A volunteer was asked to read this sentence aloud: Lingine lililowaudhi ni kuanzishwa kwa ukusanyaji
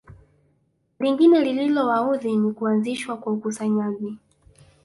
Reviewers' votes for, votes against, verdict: 0, 2, rejected